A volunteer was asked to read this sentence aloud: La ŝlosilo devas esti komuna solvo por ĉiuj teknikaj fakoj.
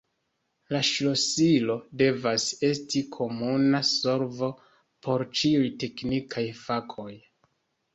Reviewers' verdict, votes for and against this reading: accepted, 2, 1